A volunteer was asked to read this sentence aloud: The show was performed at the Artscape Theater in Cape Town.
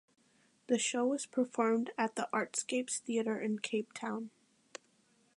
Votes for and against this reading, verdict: 2, 1, accepted